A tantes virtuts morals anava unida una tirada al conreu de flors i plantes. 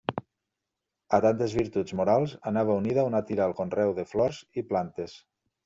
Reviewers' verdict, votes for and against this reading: rejected, 0, 2